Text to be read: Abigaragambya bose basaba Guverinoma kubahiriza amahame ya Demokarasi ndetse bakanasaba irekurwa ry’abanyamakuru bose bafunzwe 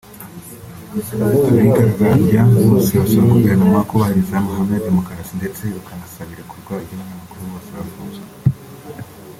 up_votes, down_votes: 2, 1